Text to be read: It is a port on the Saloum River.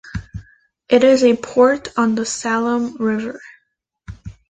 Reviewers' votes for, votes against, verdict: 2, 0, accepted